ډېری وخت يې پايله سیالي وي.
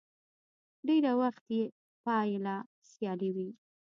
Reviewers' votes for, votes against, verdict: 2, 0, accepted